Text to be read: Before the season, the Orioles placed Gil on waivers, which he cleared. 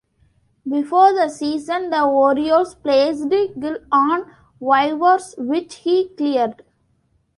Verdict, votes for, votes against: rejected, 1, 2